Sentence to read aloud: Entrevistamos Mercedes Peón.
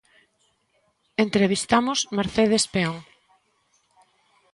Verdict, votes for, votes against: accepted, 2, 0